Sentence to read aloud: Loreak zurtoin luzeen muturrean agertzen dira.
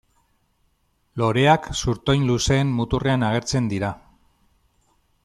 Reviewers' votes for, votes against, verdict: 2, 1, accepted